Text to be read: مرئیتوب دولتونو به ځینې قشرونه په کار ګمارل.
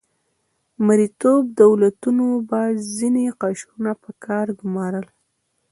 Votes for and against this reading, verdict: 2, 0, accepted